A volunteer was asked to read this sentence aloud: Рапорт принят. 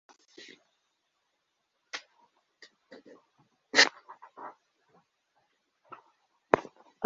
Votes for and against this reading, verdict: 0, 2, rejected